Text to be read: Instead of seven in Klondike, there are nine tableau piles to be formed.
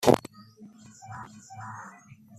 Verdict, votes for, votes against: rejected, 0, 2